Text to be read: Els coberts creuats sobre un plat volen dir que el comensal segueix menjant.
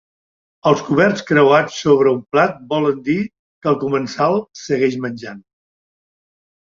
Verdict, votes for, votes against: accepted, 3, 0